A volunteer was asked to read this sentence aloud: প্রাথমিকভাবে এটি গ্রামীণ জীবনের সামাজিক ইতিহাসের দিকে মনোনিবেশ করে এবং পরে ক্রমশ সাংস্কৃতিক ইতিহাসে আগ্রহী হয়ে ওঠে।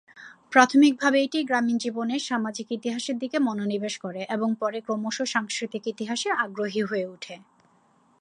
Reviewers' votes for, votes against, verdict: 2, 0, accepted